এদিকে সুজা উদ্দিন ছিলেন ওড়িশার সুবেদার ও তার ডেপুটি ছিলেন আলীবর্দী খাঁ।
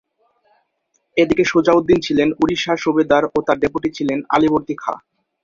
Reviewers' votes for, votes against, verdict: 0, 2, rejected